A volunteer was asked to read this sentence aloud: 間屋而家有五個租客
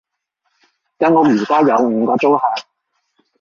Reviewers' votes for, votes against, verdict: 2, 0, accepted